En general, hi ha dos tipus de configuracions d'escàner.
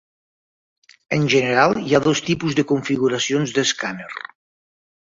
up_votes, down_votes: 2, 0